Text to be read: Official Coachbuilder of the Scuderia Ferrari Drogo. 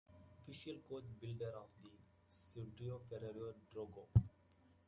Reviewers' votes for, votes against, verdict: 0, 2, rejected